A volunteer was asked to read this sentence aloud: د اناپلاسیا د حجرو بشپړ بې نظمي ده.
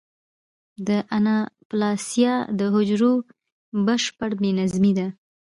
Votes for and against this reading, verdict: 2, 0, accepted